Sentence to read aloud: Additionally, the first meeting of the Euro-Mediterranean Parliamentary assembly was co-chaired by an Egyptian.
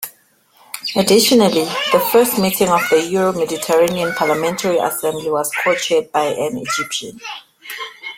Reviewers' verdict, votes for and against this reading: rejected, 1, 2